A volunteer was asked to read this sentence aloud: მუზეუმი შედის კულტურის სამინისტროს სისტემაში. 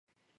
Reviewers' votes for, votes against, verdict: 0, 2, rejected